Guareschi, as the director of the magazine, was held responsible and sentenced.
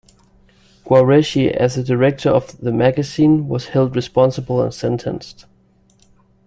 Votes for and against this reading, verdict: 2, 0, accepted